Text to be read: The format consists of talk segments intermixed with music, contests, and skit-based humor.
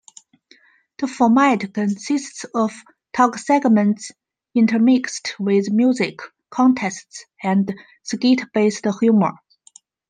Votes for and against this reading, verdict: 1, 2, rejected